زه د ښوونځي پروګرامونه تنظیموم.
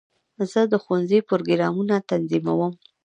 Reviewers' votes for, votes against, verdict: 1, 2, rejected